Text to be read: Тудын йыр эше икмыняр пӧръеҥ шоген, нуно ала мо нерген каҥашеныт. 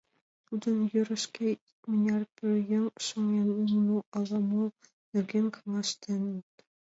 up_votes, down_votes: 0, 2